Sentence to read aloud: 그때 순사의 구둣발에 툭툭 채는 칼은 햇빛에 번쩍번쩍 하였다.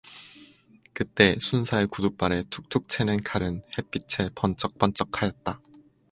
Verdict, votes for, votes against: accepted, 4, 0